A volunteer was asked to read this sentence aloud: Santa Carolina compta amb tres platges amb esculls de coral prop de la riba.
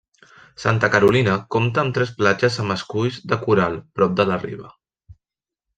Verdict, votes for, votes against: accepted, 3, 0